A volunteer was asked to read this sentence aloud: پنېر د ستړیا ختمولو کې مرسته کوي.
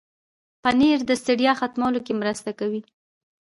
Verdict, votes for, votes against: rejected, 1, 2